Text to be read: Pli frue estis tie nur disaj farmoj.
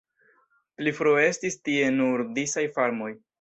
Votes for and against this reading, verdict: 2, 0, accepted